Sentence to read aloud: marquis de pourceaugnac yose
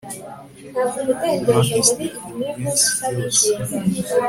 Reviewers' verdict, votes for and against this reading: accepted, 2, 1